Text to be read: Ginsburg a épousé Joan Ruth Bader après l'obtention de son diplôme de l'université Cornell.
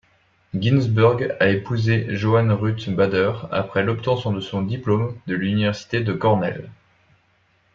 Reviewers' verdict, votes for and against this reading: rejected, 1, 2